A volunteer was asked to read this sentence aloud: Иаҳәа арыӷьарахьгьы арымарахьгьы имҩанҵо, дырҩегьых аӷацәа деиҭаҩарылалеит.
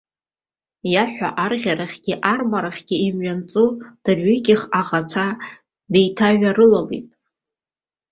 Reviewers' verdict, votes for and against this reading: rejected, 0, 2